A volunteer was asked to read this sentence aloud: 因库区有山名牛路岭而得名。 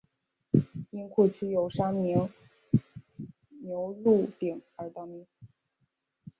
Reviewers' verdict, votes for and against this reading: rejected, 1, 2